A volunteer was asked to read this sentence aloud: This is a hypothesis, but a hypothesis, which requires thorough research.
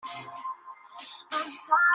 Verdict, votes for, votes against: rejected, 0, 2